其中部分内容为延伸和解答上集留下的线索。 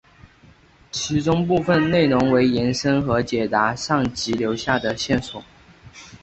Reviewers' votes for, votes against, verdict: 4, 0, accepted